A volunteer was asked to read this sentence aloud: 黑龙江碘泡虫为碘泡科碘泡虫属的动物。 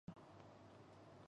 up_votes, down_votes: 1, 3